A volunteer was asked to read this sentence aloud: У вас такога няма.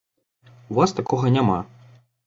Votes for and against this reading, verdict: 2, 0, accepted